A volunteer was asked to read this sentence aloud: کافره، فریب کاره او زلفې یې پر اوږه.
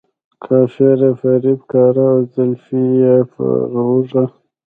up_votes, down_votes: 1, 2